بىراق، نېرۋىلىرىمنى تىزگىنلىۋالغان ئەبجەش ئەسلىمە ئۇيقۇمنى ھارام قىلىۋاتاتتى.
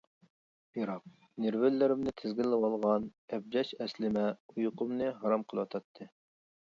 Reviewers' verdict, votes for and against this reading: accepted, 2, 1